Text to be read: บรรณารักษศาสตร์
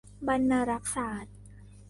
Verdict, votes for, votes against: accepted, 2, 0